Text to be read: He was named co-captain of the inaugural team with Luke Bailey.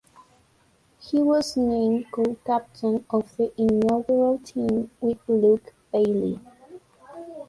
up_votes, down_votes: 1, 2